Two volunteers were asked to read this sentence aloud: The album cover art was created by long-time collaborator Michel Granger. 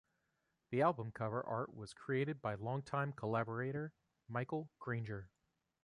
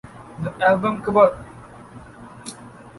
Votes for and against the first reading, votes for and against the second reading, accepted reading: 2, 1, 0, 2, first